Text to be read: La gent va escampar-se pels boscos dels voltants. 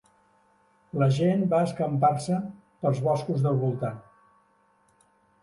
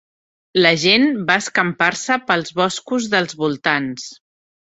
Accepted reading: second